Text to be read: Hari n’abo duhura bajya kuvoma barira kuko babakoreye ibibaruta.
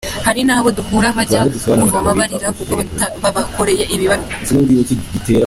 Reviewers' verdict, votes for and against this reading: rejected, 0, 2